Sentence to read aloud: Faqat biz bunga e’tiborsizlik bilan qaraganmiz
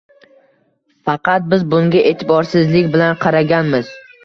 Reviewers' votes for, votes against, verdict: 1, 2, rejected